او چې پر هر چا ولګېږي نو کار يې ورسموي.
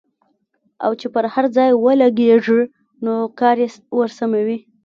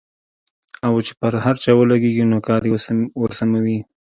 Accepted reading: second